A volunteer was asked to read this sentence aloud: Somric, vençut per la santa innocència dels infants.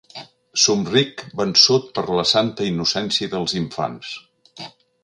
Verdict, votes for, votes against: accepted, 3, 0